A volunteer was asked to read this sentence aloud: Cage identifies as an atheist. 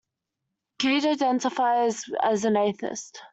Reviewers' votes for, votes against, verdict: 2, 0, accepted